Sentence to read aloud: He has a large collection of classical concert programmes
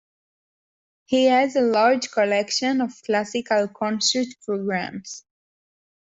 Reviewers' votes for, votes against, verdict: 2, 0, accepted